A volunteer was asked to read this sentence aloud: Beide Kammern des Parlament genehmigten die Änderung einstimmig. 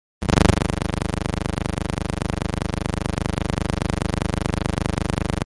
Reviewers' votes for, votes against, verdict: 0, 2, rejected